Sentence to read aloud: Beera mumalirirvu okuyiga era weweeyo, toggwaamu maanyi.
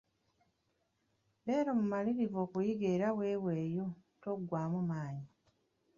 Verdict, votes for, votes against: accepted, 2, 1